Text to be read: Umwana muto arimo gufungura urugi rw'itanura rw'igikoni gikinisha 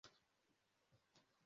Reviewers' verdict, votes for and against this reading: rejected, 0, 2